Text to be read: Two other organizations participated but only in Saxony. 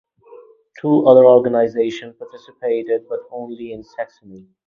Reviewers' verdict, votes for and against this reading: rejected, 2, 4